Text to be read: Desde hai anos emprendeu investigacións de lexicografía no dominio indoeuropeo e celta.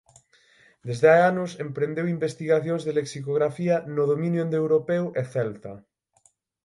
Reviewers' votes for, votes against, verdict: 6, 0, accepted